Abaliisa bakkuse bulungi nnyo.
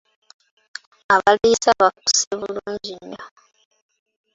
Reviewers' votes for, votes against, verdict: 1, 2, rejected